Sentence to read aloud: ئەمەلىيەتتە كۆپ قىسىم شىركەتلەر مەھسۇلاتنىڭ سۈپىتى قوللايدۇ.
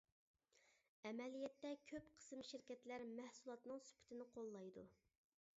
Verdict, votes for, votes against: rejected, 0, 2